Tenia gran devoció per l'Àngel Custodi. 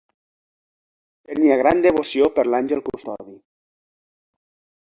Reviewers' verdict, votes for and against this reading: rejected, 0, 2